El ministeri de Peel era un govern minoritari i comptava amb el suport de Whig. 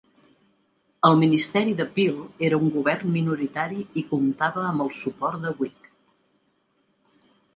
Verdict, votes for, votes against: accepted, 2, 0